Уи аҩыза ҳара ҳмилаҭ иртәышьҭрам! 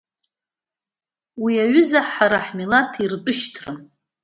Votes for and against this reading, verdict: 2, 0, accepted